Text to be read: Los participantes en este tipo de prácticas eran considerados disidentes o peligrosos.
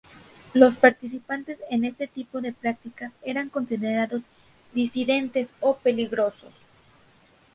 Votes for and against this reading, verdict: 2, 0, accepted